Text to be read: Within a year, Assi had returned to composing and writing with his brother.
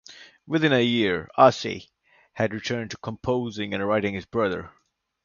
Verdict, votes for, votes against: rejected, 0, 2